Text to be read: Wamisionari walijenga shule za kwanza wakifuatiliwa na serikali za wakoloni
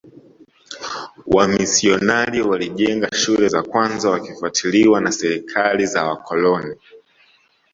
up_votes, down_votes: 2, 0